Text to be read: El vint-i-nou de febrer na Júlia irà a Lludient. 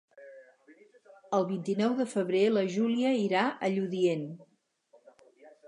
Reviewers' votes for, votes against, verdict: 0, 4, rejected